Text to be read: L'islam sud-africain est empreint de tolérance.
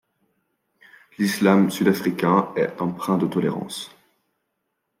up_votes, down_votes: 2, 0